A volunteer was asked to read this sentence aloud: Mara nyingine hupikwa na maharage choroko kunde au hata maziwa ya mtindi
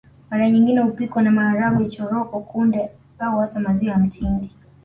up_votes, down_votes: 2, 0